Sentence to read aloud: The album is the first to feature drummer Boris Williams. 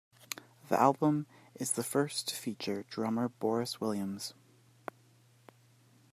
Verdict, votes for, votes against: accepted, 2, 0